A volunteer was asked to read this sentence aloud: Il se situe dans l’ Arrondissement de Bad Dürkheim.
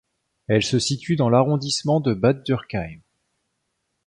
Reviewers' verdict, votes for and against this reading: rejected, 1, 2